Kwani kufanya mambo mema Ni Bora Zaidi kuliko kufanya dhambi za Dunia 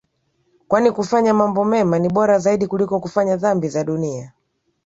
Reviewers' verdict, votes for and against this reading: accepted, 6, 0